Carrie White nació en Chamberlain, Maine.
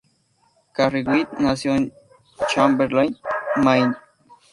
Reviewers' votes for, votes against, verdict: 2, 0, accepted